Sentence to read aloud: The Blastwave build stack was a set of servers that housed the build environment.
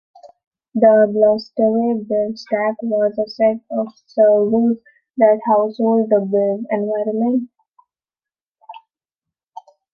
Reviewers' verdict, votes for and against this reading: rejected, 0, 2